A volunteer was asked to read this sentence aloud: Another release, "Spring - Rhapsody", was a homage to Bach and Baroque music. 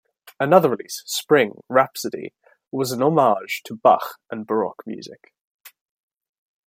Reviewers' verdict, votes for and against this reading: accepted, 2, 1